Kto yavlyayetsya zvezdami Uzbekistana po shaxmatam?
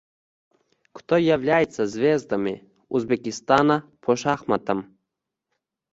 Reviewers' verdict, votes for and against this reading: rejected, 1, 2